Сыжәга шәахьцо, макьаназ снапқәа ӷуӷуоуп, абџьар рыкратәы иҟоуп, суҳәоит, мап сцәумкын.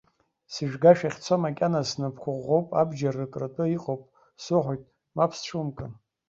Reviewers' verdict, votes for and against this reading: rejected, 1, 2